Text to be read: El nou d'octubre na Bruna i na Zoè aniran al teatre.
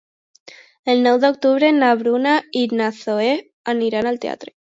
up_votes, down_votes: 1, 2